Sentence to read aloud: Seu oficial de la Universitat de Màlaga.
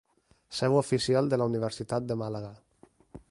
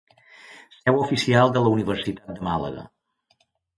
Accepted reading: first